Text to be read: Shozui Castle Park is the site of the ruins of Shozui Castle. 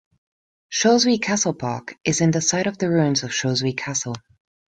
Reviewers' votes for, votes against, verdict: 0, 2, rejected